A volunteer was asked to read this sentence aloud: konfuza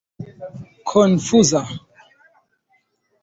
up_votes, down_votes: 2, 0